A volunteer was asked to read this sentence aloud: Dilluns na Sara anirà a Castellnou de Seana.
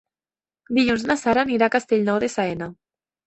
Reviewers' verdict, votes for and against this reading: rejected, 1, 2